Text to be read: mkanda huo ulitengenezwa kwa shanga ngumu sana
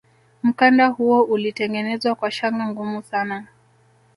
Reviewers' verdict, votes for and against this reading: rejected, 0, 2